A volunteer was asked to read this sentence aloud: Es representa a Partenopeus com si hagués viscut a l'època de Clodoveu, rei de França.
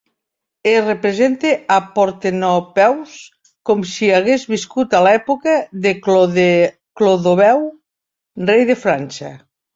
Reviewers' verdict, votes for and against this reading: rejected, 1, 2